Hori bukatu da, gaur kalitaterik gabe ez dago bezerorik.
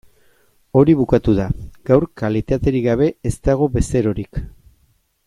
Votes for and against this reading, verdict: 2, 0, accepted